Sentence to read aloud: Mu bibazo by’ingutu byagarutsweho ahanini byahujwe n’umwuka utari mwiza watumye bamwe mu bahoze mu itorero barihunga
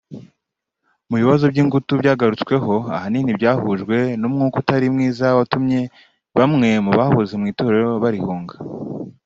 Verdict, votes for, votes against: accepted, 2, 1